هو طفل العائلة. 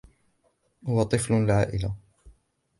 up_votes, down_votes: 2, 0